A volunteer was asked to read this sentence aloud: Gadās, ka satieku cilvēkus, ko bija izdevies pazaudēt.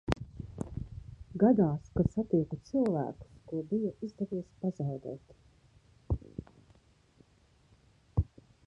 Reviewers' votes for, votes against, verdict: 0, 2, rejected